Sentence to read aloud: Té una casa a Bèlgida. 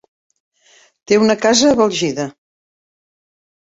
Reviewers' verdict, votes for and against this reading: rejected, 0, 2